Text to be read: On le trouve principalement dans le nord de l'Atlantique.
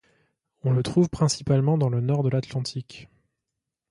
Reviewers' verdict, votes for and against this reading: accepted, 2, 0